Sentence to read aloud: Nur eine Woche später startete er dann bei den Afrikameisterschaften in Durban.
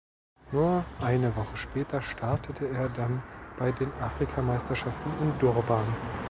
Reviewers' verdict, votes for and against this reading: accepted, 2, 0